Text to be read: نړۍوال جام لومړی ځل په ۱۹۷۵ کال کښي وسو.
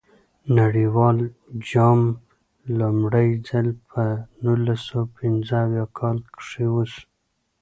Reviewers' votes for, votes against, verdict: 0, 2, rejected